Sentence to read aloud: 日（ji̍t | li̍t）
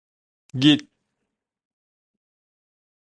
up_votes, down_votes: 0, 2